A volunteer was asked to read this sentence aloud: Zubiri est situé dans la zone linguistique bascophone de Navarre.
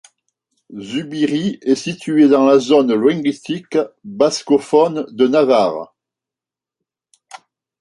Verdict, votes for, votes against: rejected, 1, 2